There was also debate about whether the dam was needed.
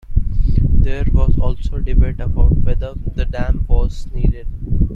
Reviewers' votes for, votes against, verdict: 2, 0, accepted